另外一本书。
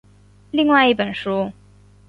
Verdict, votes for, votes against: accepted, 6, 0